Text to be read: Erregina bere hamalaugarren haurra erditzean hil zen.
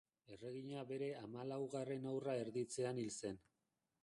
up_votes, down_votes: 1, 2